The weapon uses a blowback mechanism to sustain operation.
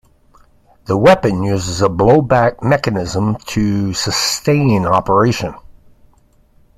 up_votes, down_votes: 2, 0